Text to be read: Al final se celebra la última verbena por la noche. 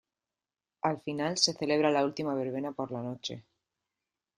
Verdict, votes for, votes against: accepted, 2, 0